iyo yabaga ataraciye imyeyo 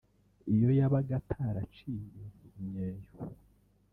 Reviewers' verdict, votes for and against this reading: rejected, 0, 2